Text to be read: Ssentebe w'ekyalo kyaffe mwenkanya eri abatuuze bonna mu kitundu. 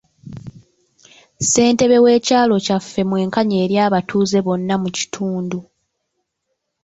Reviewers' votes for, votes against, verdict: 0, 2, rejected